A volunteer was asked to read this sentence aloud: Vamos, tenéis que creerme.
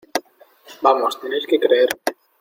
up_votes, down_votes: 2, 0